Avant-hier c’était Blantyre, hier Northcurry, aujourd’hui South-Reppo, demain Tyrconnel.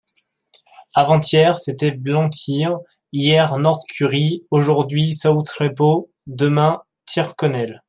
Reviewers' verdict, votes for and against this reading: accepted, 2, 0